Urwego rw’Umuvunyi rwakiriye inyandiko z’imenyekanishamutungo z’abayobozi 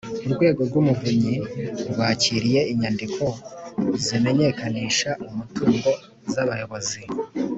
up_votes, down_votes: 2, 0